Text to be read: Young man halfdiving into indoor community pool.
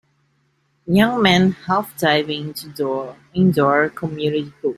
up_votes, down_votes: 1, 2